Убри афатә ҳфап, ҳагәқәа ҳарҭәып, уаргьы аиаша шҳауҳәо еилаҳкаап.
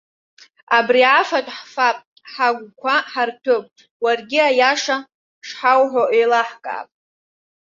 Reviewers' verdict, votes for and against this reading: rejected, 1, 2